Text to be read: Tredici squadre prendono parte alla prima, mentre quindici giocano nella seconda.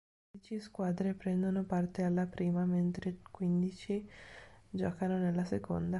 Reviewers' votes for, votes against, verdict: 1, 2, rejected